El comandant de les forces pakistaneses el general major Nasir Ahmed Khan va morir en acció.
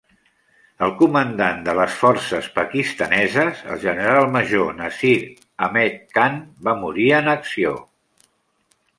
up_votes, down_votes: 2, 0